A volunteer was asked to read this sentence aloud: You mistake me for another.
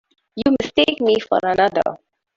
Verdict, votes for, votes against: rejected, 1, 2